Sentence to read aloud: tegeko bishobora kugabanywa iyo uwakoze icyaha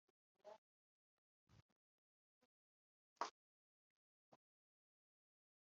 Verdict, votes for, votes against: rejected, 1, 2